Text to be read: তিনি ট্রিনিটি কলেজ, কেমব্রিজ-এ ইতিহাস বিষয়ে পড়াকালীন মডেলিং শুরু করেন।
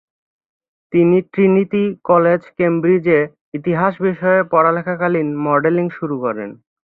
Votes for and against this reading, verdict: 0, 3, rejected